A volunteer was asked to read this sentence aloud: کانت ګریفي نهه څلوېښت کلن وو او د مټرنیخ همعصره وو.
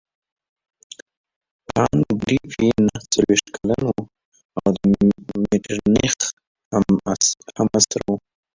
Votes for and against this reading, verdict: 1, 2, rejected